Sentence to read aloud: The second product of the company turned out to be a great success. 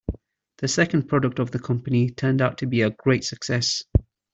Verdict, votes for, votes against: accepted, 2, 0